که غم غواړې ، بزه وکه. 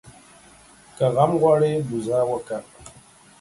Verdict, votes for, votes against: accepted, 3, 0